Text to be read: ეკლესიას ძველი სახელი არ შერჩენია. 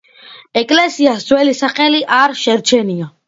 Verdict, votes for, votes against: accepted, 2, 0